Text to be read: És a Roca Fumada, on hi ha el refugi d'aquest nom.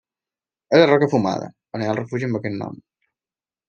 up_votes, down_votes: 1, 2